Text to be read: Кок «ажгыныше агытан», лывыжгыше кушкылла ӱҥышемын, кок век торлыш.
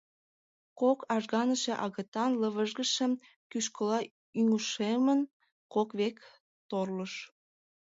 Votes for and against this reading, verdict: 0, 2, rejected